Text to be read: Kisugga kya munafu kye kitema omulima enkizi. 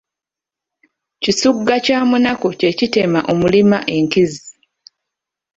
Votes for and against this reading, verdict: 1, 2, rejected